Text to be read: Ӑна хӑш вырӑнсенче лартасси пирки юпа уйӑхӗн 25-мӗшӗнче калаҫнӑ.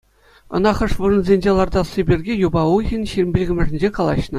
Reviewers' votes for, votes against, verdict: 0, 2, rejected